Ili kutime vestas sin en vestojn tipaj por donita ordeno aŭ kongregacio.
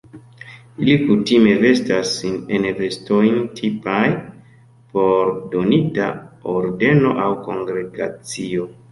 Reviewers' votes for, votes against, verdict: 2, 1, accepted